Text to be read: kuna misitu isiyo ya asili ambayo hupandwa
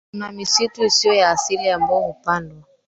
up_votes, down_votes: 0, 2